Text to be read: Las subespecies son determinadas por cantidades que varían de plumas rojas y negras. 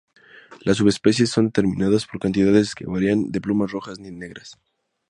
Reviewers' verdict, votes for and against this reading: rejected, 0, 2